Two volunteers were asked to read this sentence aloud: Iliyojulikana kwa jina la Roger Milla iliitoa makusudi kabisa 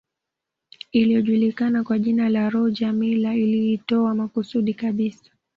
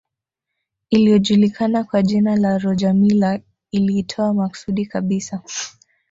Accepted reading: first